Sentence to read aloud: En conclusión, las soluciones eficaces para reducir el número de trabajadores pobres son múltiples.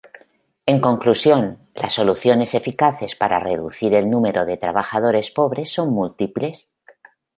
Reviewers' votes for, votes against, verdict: 1, 2, rejected